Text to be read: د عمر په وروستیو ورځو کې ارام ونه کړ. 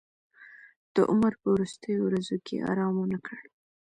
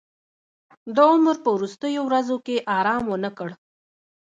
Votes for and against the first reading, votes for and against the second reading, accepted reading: 2, 0, 1, 2, first